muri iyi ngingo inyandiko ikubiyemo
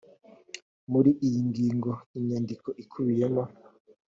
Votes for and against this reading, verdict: 2, 0, accepted